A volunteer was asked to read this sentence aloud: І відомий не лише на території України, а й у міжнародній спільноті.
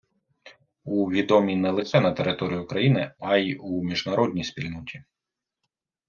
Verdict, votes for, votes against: rejected, 1, 2